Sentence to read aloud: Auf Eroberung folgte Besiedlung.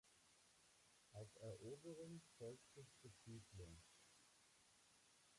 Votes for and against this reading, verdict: 0, 2, rejected